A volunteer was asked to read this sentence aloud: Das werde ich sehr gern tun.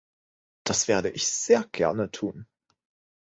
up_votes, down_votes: 0, 2